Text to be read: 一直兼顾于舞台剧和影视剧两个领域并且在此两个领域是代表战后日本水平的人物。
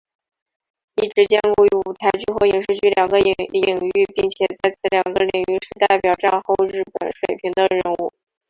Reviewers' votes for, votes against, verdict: 1, 2, rejected